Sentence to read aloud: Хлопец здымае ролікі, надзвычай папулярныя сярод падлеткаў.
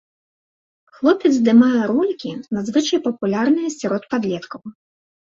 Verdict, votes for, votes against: accepted, 2, 0